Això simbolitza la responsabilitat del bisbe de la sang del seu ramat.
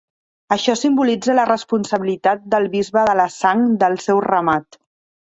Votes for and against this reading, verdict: 3, 0, accepted